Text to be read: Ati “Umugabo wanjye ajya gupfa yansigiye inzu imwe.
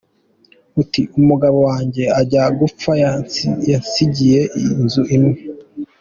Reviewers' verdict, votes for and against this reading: rejected, 1, 2